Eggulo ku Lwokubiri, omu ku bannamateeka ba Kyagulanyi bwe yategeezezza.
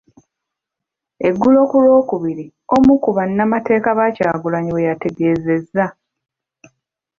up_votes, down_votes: 2, 0